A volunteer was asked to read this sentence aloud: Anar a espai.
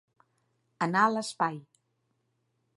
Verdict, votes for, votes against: rejected, 1, 2